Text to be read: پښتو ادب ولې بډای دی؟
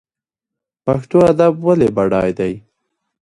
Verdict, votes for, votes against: accepted, 2, 0